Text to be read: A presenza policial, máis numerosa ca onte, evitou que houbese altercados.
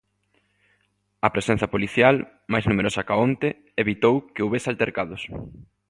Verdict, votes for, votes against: accepted, 2, 0